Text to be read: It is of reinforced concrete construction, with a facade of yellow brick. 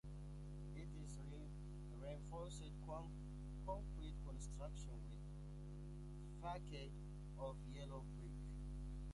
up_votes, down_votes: 0, 2